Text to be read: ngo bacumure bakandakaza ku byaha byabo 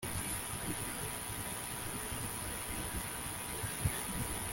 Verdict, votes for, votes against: rejected, 0, 2